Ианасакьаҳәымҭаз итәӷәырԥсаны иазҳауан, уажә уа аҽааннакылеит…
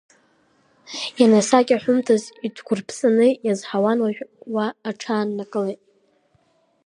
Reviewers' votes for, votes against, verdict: 1, 2, rejected